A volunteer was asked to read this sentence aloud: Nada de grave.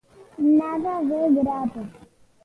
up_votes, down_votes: 1, 2